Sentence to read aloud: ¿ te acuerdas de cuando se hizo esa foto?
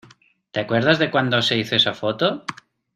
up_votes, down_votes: 2, 0